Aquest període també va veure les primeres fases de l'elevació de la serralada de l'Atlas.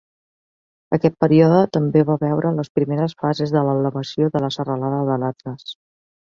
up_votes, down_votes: 4, 1